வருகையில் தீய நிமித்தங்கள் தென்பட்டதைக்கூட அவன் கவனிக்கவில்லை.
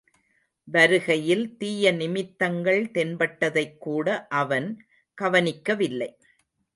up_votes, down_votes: 2, 0